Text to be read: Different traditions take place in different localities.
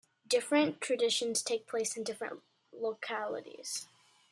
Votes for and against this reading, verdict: 2, 0, accepted